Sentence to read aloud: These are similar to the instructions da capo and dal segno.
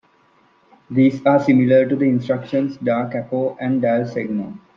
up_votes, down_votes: 2, 0